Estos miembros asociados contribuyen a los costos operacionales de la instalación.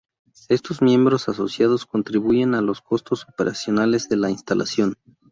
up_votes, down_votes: 2, 0